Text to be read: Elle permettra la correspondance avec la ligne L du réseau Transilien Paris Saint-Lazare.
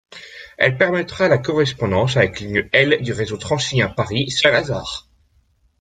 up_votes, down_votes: 1, 2